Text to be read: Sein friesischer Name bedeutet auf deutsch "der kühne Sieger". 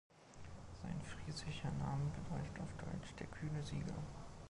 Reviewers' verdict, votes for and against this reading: rejected, 1, 2